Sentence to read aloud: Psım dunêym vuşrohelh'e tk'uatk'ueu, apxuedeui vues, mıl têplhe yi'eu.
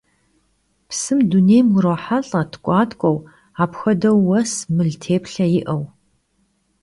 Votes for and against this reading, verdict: 1, 2, rejected